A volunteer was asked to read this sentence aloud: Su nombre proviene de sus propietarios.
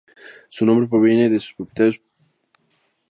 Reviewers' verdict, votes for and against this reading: accepted, 2, 0